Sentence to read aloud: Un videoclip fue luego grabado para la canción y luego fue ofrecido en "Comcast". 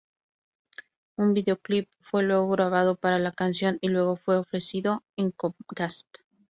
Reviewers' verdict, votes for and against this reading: rejected, 0, 2